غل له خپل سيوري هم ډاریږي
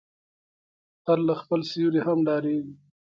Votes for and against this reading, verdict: 0, 2, rejected